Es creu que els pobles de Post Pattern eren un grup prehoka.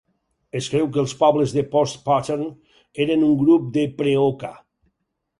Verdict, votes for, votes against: rejected, 2, 4